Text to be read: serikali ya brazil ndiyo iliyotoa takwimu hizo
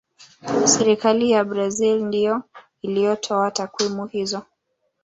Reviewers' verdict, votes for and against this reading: rejected, 0, 2